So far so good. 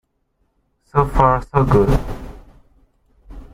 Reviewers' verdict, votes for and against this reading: rejected, 1, 2